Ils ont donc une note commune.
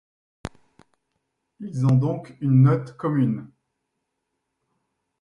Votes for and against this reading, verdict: 0, 2, rejected